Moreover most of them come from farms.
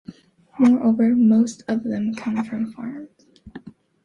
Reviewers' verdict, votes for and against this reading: accepted, 2, 1